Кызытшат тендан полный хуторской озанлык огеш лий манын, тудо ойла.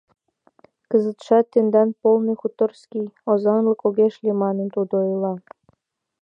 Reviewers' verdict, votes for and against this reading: accepted, 2, 1